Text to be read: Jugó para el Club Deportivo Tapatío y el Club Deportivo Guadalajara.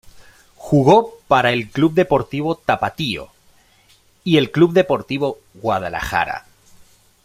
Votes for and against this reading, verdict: 2, 1, accepted